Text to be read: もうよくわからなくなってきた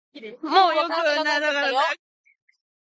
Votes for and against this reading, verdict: 1, 5, rejected